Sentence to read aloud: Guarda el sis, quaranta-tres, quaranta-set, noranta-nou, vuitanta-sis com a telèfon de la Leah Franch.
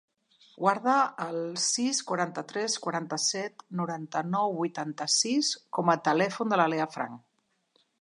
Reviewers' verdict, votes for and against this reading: accepted, 2, 0